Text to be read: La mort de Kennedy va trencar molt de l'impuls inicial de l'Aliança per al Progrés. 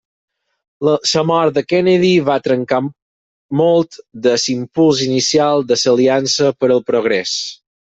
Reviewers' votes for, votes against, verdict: 0, 4, rejected